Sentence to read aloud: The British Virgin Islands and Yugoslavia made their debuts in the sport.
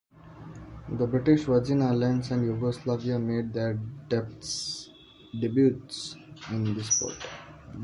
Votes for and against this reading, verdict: 0, 2, rejected